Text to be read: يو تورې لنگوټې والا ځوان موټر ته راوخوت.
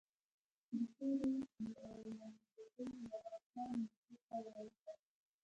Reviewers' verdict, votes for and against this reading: rejected, 0, 2